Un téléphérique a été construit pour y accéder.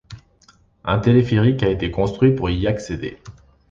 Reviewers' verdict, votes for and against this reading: accepted, 2, 0